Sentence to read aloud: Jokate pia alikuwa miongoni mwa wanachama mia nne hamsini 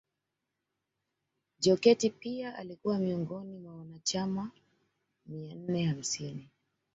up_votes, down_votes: 1, 2